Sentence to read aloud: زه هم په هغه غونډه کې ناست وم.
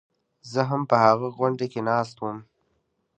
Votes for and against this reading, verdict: 2, 0, accepted